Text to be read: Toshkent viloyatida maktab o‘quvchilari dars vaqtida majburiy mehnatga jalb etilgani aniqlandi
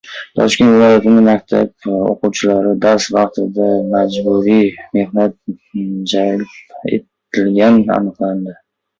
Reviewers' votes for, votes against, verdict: 0, 2, rejected